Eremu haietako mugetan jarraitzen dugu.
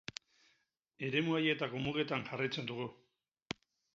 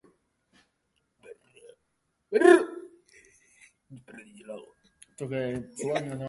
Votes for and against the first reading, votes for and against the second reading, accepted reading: 8, 0, 0, 4, first